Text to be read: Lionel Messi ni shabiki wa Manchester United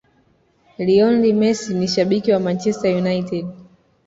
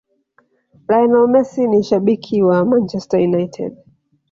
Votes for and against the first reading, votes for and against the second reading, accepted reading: 2, 1, 1, 2, first